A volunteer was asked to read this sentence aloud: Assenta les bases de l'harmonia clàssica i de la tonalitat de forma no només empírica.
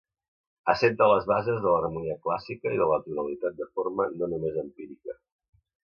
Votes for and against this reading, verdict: 2, 0, accepted